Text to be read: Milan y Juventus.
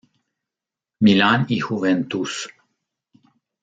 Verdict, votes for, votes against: rejected, 1, 2